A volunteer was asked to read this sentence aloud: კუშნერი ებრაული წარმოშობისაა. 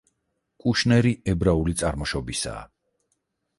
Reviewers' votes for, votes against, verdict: 4, 0, accepted